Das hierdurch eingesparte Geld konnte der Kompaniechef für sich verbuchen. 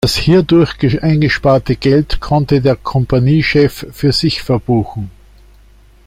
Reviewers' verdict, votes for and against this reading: rejected, 0, 2